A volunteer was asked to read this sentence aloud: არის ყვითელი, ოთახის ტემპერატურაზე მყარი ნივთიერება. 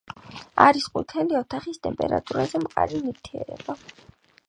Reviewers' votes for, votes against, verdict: 6, 0, accepted